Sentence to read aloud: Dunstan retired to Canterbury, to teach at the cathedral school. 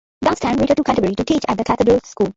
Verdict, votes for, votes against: rejected, 0, 2